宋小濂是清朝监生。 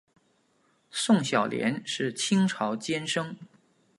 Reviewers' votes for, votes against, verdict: 3, 0, accepted